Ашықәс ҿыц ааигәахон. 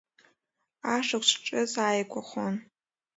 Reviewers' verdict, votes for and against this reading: accepted, 2, 0